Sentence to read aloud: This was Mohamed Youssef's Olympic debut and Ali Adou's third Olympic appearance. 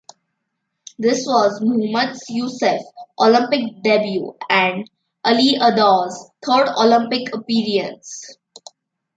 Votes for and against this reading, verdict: 1, 2, rejected